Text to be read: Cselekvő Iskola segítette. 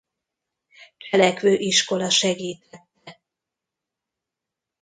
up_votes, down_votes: 0, 2